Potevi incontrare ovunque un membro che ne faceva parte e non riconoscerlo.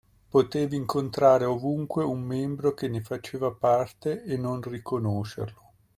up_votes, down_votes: 2, 0